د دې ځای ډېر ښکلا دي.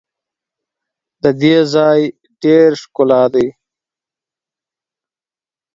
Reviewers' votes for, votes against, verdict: 2, 0, accepted